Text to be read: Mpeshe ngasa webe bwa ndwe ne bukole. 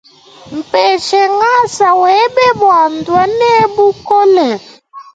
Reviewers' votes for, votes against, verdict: 2, 0, accepted